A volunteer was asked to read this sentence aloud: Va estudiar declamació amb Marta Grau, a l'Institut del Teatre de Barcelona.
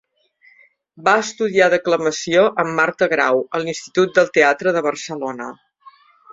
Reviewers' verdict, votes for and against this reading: accepted, 3, 0